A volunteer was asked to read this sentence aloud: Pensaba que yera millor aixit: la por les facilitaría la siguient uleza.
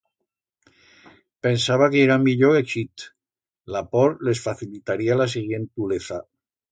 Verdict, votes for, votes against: rejected, 1, 2